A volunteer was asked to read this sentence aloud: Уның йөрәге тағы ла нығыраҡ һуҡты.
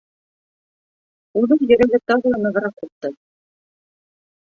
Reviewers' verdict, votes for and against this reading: accepted, 2, 1